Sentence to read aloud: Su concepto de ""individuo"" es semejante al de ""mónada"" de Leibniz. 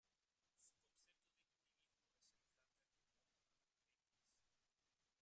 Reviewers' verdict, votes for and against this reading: rejected, 0, 2